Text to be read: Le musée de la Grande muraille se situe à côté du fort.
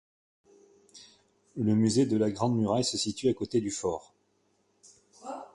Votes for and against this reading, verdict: 2, 0, accepted